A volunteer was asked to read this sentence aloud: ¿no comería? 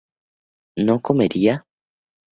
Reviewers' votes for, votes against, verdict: 2, 0, accepted